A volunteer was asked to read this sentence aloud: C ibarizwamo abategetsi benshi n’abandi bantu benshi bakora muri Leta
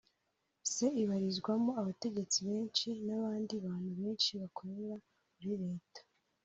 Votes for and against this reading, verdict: 2, 0, accepted